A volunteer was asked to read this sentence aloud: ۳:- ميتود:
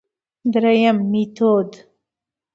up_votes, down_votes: 0, 2